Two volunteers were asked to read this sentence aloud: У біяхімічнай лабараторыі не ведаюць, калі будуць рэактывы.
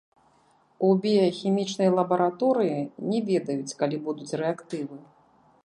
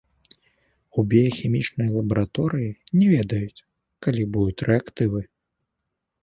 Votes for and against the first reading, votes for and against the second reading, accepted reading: 1, 2, 2, 0, second